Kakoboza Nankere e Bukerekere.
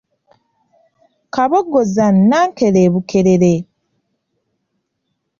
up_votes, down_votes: 0, 2